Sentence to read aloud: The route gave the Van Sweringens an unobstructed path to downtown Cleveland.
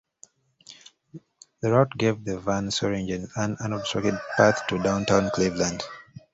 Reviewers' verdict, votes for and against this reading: rejected, 0, 2